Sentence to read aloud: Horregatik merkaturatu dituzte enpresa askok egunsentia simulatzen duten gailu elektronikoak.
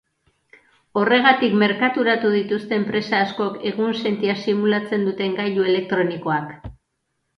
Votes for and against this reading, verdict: 2, 0, accepted